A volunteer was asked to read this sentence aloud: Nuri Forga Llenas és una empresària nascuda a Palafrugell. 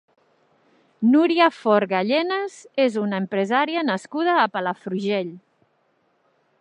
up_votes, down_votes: 0, 2